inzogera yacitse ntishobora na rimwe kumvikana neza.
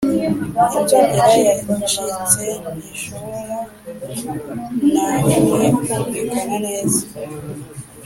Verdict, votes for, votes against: accepted, 3, 0